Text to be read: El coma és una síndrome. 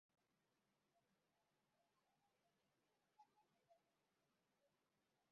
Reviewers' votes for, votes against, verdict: 1, 3, rejected